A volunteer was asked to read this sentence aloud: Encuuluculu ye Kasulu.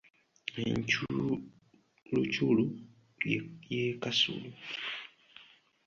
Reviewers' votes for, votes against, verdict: 1, 2, rejected